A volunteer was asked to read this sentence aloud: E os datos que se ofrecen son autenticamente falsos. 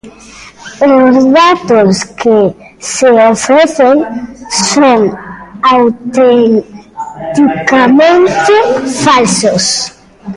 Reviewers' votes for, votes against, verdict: 1, 2, rejected